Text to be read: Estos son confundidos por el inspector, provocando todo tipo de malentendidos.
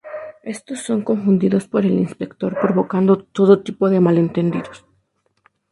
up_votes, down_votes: 0, 2